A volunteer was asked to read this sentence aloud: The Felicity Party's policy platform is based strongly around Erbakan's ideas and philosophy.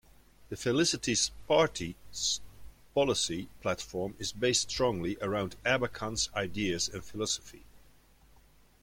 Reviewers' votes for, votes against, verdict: 3, 1, accepted